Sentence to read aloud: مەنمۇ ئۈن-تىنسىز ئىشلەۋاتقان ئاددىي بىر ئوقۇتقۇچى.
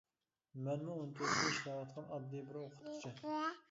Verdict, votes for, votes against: rejected, 0, 2